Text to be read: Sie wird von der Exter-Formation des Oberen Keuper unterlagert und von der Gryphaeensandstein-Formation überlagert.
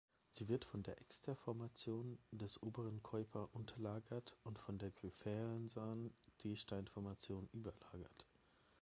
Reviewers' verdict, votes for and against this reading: rejected, 0, 3